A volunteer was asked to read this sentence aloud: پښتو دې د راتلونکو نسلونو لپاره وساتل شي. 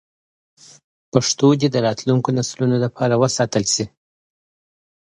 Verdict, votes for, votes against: accepted, 2, 0